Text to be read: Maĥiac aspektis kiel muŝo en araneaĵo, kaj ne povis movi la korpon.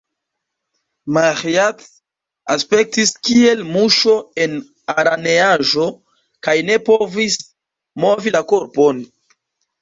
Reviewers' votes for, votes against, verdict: 2, 0, accepted